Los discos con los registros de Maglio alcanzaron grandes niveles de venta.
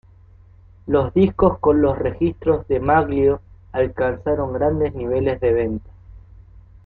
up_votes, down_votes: 2, 1